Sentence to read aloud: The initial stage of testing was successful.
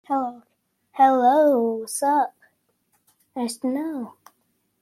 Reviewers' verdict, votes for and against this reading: rejected, 0, 2